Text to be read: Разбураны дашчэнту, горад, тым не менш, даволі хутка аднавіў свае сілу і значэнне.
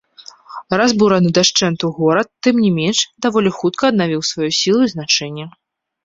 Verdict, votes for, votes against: accepted, 2, 0